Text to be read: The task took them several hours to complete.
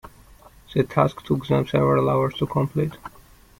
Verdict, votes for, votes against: accepted, 2, 0